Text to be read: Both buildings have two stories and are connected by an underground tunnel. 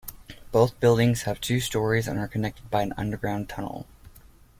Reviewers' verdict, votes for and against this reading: accepted, 2, 0